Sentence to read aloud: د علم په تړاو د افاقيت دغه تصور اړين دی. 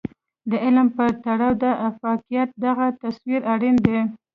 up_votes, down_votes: 2, 0